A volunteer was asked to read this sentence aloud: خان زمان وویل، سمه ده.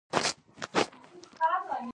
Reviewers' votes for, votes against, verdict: 0, 2, rejected